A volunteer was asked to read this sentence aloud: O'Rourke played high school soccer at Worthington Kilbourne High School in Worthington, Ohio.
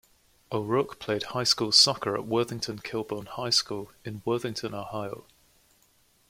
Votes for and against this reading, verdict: 2, 0, accepted